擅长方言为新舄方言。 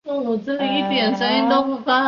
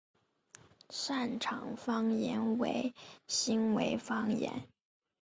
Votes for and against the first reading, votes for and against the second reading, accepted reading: 0, 2, 3, 2, second